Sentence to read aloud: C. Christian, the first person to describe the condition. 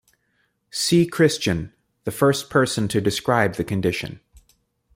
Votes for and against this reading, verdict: 2, 0, accepted